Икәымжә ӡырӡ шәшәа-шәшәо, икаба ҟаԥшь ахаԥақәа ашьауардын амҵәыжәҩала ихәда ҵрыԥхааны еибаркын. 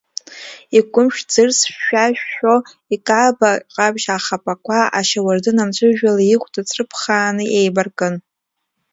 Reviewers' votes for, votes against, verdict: 0, 2, rejected